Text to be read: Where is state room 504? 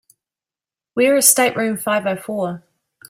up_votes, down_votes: 0, 2